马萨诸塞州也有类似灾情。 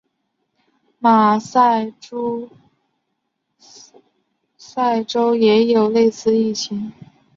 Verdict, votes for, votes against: rejected, 0, 3